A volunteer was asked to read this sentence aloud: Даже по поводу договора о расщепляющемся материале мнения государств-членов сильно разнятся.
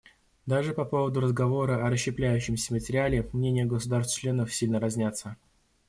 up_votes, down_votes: 0, 2